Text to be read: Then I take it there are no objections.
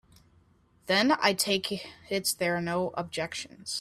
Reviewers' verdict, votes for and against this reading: rejected, 1, 2